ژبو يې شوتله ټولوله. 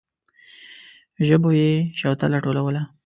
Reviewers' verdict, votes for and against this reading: rejected, 1, 2